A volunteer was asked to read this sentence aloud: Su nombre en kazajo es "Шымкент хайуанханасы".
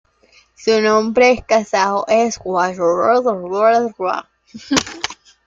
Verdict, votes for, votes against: rejected, 1, 2